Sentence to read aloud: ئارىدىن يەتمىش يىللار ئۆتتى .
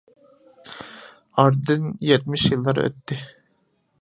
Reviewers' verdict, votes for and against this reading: accepted, 2, 1